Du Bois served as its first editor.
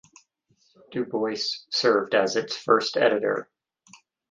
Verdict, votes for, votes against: rejected, 3, 6